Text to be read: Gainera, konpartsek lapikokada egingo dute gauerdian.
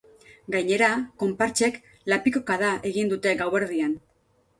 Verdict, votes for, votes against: rejected, 0, 2